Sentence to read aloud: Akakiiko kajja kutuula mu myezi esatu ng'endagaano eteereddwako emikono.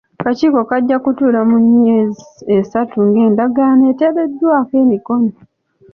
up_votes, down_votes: 2, 0